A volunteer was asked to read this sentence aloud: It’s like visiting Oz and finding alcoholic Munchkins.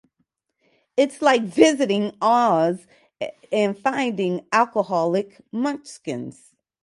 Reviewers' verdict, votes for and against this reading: rejected, 2, 2